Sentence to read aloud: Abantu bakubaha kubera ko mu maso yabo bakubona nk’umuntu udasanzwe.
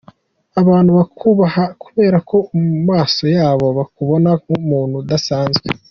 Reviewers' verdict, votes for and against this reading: accepted, 2, 0